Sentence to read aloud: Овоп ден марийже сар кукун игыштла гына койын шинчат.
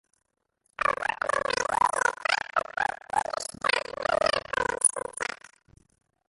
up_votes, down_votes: 0, 2